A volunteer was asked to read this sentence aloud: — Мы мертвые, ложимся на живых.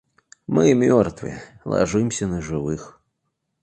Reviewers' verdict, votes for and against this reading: accepted, 2, 0